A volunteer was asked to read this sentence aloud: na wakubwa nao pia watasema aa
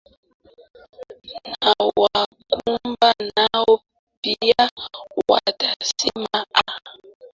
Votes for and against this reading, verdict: 0, 2, rejected